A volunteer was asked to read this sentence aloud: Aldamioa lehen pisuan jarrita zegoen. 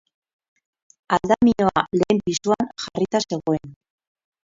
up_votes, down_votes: 0, 4